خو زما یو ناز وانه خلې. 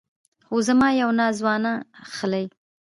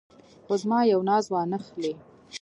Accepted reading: second